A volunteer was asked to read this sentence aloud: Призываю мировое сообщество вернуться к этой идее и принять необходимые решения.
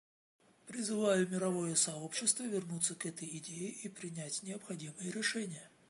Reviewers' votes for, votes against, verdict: 2, 0, accepted